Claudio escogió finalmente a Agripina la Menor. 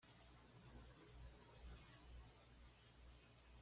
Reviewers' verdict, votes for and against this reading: rejected, 1, 2